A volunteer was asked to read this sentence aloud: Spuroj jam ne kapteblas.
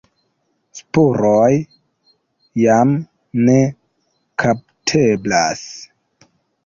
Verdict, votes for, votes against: accepted, 2, 1